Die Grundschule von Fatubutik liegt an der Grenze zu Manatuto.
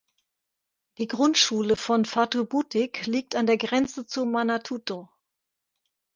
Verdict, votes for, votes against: accepted, 2, 0